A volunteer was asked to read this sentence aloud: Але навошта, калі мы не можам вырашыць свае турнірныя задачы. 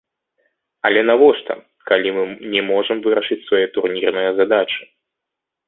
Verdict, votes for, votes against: rejected, 0, 2